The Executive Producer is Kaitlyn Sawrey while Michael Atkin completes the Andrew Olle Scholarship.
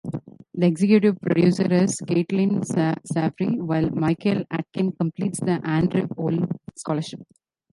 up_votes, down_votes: 0, 2